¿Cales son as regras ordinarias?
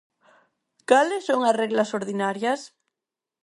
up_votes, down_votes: 2, 4